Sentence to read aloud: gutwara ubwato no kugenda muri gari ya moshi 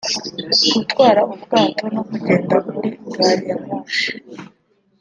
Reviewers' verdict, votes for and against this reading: accepted, 2, 1